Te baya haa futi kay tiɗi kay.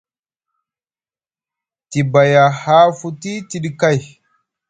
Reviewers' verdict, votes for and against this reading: rejected, 0, 2